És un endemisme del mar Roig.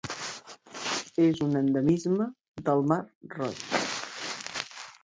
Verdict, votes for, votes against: rejected, 1, 2